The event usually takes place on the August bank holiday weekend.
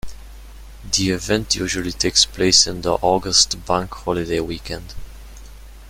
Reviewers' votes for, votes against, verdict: 2, 0, accepted